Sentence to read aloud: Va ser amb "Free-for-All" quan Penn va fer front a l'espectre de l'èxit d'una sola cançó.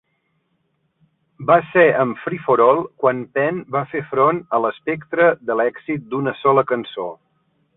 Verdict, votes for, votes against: accepted, 3, 0